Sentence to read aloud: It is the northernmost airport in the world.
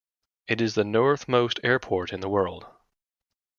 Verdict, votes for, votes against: rejected, 0, 2